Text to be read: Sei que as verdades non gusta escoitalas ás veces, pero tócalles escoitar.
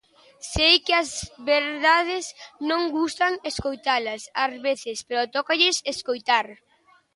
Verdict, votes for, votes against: rejected, 0, 2